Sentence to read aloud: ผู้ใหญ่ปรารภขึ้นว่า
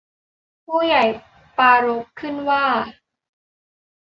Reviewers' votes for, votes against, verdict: 2, 0, accepted